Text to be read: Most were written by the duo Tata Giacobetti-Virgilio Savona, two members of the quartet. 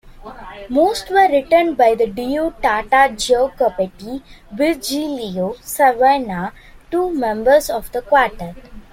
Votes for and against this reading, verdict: 2, 0, accepted